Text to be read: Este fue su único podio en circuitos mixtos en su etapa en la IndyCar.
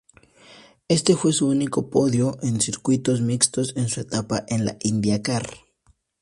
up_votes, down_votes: 0, 2